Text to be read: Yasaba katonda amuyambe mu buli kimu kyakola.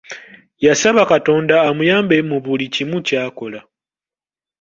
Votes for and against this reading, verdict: 2, 1, accepted